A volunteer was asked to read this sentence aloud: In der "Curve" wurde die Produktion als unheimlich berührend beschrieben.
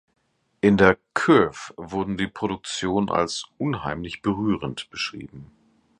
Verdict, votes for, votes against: rejected, 0, 2